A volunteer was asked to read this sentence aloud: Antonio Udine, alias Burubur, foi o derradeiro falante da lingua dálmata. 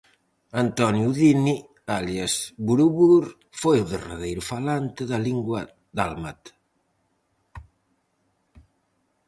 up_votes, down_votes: 4, 0